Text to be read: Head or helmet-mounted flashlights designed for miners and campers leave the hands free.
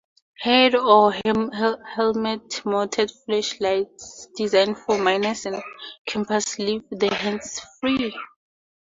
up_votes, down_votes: 2, 0